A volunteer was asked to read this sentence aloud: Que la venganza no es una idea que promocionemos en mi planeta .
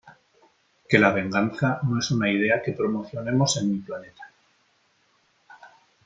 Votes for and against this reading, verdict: 2, 1, accepted